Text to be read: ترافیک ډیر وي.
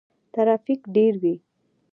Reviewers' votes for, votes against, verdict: 2, 0, accepted